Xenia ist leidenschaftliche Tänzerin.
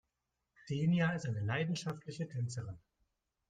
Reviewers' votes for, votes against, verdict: 1, 2, rejected